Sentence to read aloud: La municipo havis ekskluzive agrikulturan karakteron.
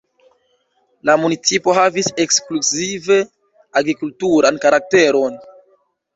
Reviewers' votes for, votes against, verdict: 2, 1, accepted